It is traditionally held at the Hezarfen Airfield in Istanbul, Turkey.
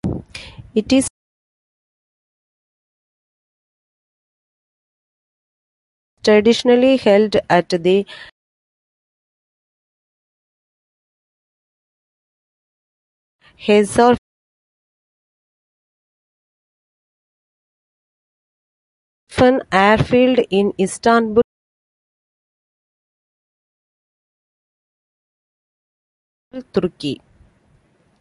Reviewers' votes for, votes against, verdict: 0, 2, rejected